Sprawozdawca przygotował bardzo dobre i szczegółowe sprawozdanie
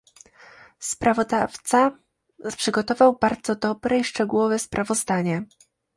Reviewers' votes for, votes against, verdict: 0, 2, rejected